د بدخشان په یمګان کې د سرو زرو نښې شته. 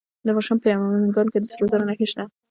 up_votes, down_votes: 0, 2